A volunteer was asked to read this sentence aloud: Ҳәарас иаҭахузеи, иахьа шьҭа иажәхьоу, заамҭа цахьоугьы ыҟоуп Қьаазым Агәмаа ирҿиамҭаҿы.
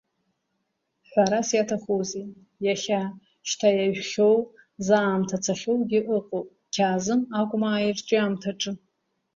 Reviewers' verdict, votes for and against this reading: accepted, 2, 1